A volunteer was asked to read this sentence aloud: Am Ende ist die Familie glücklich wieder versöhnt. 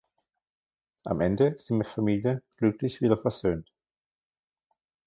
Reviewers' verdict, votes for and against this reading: rejected, 1, 2